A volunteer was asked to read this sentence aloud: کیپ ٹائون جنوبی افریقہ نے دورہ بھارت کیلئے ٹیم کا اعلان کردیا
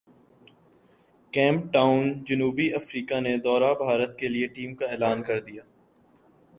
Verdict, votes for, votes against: rejected, 1, 2